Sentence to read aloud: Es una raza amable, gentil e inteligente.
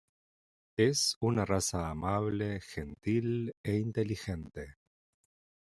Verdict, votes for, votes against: accepted, 2, 0